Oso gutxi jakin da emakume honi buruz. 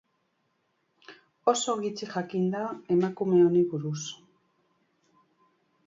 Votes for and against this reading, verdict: 2, 0, accepted